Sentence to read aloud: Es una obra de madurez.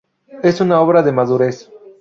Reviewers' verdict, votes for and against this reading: accepted, 4, 0